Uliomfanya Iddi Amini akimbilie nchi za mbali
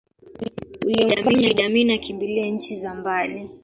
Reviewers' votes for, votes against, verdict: 0, 2, rejected